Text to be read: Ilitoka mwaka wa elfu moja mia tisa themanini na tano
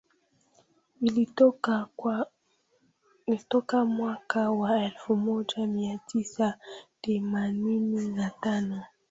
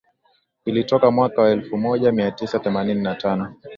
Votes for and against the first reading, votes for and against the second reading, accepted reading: 0, 2, 2, 0, second